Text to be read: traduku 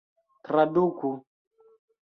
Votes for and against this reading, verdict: 3, 0, accepted